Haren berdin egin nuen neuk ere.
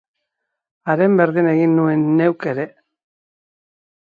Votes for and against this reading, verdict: 2, 0, accepted